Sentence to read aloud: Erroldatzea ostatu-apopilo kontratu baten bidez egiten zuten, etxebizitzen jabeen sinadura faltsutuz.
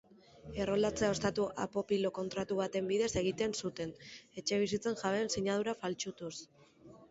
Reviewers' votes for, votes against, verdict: 4, 1, accepted